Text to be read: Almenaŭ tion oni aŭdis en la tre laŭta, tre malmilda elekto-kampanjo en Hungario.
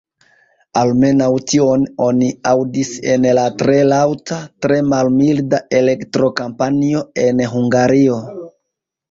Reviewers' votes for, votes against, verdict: 0, 2, rejected